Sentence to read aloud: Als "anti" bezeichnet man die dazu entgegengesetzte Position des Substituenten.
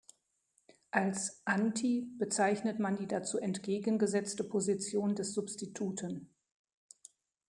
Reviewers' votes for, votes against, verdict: 0, 2, rejected